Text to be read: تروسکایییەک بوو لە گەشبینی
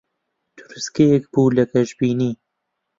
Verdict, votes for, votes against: rejected, 0, 2